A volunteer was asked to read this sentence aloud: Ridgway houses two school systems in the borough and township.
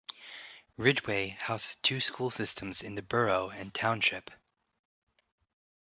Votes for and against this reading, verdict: 0, 2, rejected